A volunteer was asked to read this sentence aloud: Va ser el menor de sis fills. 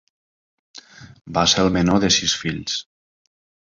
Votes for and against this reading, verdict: 3, 0, accepted